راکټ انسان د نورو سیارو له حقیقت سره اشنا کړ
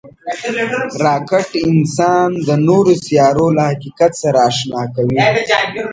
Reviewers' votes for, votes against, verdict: 1, 2, rejected